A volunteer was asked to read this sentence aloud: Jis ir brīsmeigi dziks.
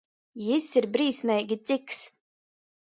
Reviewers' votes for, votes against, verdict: 2, 0, accepted